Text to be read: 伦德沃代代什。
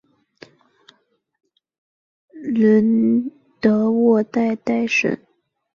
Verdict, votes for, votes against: accepted, 2, 1